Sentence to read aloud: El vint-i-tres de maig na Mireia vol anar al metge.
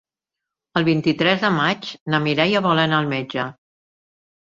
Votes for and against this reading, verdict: 1, 2, rejected